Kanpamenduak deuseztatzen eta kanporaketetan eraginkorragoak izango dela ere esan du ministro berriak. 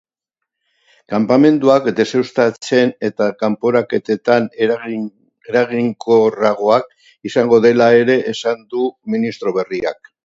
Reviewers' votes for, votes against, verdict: 0, 3, rejected